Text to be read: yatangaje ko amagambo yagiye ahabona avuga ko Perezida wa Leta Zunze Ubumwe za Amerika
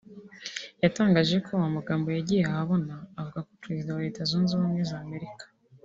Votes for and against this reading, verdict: 1, 2, rejected